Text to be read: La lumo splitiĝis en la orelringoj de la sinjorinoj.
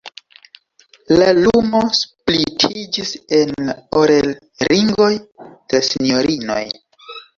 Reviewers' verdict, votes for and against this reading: accepted, 2, 0